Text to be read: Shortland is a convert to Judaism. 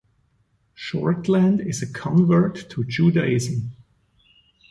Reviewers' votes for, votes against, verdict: 2, 0, accepted